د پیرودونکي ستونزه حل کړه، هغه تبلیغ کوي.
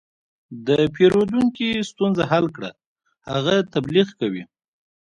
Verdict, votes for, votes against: rejected, 0, 2